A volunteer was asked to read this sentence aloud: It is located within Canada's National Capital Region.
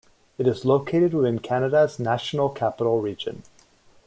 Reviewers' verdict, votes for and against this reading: accepted, 2, 0